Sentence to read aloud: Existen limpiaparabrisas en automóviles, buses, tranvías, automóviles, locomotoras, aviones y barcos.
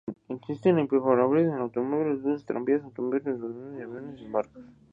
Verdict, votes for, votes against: rejected, 0, 4